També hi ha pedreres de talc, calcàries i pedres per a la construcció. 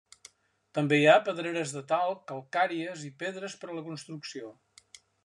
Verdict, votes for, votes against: accepted, 2, 0